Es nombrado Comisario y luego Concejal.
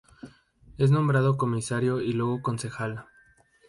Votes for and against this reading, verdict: 2, 0, accepted